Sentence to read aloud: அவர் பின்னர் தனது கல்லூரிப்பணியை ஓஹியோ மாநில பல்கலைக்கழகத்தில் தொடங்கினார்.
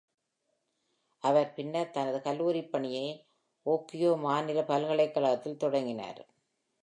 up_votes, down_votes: 2, 0